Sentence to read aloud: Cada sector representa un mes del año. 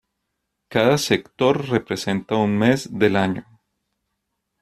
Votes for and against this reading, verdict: 2, 1, accepted